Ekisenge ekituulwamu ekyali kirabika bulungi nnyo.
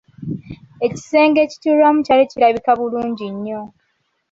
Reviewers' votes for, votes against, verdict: 2, 1, accepted